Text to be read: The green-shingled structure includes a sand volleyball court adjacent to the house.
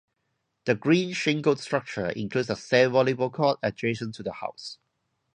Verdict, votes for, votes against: accepted, 2, 0